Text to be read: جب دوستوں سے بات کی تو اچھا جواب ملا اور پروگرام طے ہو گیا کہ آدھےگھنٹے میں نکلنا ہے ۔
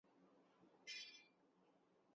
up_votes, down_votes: 0, 3